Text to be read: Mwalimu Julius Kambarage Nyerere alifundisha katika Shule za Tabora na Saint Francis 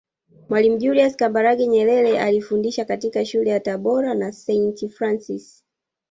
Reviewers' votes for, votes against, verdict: 1, 2, rejected